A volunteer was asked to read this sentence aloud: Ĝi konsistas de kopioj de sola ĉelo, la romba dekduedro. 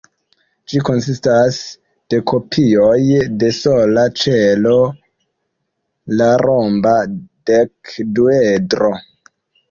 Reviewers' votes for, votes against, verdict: 1, 2, rejected